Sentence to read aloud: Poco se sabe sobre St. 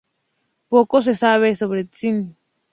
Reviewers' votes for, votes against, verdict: 2, 0, accepted